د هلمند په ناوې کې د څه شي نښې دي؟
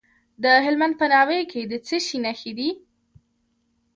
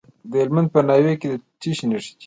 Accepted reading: second